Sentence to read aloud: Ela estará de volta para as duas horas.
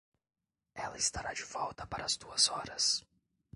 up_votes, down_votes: 2, 0